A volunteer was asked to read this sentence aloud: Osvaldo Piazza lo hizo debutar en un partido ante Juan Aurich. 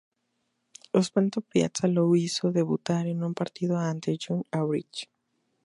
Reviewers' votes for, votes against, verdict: 0, 2, rejected